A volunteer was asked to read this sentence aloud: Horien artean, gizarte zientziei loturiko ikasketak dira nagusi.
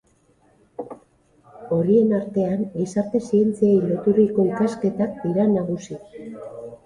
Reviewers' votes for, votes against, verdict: 6, 2, accepted